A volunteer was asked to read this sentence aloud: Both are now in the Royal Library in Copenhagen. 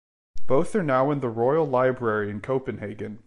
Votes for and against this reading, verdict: 2, 0, accepted